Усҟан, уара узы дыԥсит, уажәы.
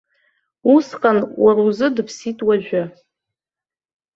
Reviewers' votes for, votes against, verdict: 1, 2, rejected